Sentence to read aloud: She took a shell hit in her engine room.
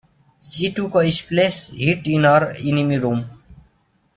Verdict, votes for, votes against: rejected, 0, 2